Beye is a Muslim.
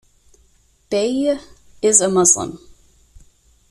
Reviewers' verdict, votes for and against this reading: accepted, 2, 1